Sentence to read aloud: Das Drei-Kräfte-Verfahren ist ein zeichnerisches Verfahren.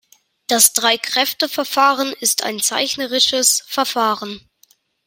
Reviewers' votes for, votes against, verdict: 2, 0, accepted